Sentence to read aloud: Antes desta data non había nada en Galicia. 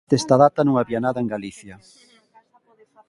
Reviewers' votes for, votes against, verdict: 0, 2, rejected